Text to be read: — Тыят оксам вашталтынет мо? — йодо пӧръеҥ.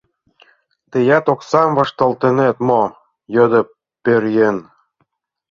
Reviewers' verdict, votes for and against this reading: accepted, 2, 0